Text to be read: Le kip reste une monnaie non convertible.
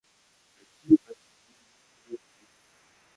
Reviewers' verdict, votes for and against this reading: rejected, 1, 2